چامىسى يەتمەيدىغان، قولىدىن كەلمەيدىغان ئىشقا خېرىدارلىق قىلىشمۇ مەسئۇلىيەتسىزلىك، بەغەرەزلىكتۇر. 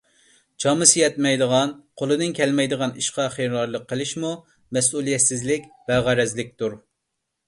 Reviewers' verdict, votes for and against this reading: accepted, 2, 0